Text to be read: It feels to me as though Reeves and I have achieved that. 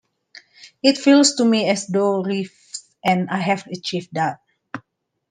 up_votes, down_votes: 1, 2